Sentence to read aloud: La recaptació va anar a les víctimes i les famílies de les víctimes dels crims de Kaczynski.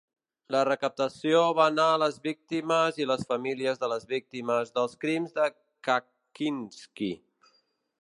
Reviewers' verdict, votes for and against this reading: accepted, 2, 0